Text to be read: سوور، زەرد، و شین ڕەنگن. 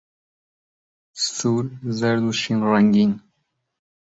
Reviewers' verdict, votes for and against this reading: accepted, 2, 0